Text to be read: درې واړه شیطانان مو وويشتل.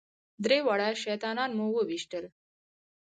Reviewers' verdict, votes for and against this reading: accepted, 4, 0